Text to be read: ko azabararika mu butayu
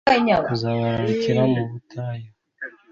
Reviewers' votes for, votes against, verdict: 1, 2, rejected